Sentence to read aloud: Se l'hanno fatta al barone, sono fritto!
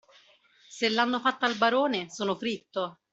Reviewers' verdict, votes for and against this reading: accepted, 2, 0